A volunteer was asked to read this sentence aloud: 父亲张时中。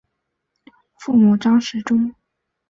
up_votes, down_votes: 5, 5